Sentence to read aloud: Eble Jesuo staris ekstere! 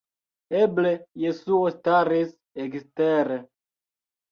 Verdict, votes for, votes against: rejected, 1, 2